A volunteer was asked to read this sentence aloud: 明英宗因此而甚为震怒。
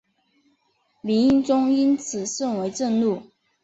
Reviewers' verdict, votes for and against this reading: accepted, 2, 0